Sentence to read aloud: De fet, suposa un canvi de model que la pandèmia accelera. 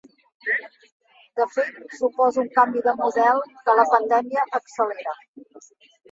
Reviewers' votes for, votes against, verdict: 1, 2, rejected